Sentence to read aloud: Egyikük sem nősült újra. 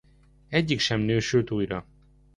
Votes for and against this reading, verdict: 0, 2, rejected